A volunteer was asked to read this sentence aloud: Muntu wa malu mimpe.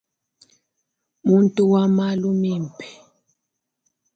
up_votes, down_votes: 2, 1